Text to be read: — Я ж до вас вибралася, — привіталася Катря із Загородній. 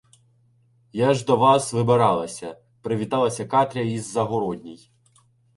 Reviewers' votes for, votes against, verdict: 0, 2, rejected